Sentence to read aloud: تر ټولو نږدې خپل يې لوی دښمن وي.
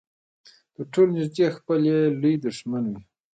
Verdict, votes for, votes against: accepted, 2, 0